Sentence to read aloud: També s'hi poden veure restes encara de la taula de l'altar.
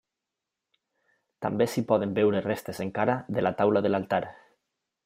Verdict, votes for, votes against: accepted, 3, 0